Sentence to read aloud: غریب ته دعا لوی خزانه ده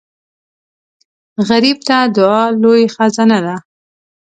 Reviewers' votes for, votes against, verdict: 2, 0, accepted